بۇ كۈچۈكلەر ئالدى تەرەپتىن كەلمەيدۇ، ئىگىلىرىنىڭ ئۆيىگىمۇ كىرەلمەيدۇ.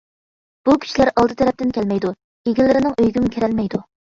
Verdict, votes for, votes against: rejected, 1, 2